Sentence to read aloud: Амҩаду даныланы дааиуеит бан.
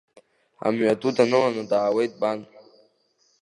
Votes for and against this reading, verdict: 1, 2, rejected